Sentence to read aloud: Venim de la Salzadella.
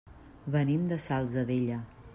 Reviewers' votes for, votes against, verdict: 1, 2, rejected